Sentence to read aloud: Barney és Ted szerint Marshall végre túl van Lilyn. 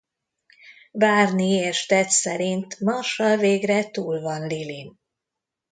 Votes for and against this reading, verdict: 2, 0, accepted